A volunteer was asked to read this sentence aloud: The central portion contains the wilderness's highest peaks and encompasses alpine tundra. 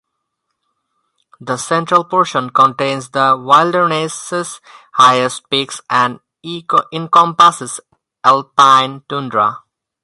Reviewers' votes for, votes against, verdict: 0, 2, rejected